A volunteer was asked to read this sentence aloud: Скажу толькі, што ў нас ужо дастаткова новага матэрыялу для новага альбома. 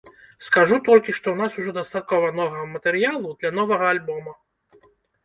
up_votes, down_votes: 0, 2